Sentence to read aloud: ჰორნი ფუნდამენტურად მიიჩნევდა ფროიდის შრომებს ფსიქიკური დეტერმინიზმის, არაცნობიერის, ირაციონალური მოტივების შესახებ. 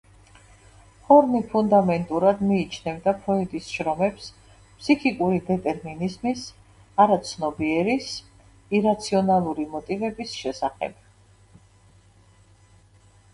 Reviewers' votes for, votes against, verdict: 1, 2, rejected